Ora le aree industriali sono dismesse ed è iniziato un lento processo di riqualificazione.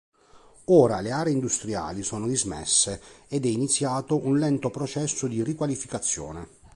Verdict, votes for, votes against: accepted, 2, 0